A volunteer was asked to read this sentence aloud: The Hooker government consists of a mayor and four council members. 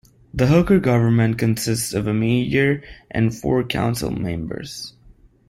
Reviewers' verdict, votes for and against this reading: accepted, 2, 0